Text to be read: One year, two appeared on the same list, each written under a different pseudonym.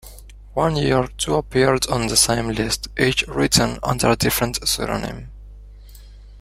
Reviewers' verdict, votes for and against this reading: accepted, 2, 0